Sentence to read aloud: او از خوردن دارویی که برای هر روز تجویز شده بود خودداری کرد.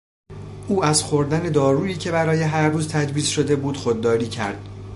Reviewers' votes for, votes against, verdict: 2, 0, accepted